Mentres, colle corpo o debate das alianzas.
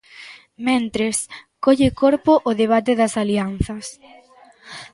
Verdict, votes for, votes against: rejected, 1, 2